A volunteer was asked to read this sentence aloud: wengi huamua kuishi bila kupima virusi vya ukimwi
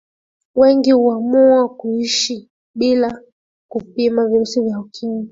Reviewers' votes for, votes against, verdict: 0, 2, rejected